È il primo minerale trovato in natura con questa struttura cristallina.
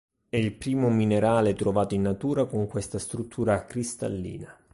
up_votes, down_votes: 2, 0